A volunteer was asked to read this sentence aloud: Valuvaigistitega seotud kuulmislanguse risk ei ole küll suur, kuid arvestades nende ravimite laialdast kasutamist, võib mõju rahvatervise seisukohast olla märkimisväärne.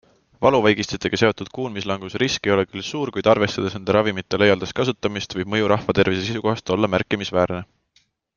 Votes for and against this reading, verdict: 2, 0, accepted